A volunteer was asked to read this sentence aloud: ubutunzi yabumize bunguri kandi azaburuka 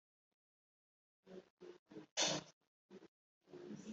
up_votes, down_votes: 2, 1